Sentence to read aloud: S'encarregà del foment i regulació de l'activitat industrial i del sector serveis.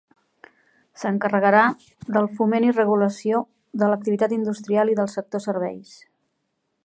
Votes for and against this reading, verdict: 1, 2, rejected